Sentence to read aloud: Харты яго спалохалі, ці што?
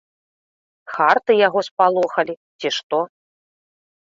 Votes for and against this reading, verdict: 0, 2, rejected